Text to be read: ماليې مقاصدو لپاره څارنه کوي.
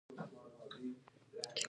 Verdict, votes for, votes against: rejected, 1, 2